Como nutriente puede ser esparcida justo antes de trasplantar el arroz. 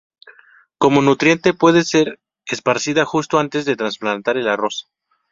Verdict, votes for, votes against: accepted, 4, 0